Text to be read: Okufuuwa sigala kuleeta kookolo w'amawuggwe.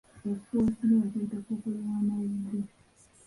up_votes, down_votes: 0, 2